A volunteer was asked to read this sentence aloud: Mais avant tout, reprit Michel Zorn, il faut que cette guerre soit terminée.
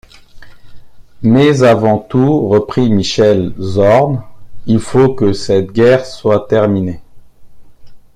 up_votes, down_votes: 2, 0